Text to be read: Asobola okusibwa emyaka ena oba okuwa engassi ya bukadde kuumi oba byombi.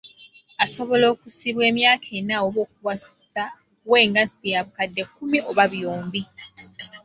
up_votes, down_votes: 2, 3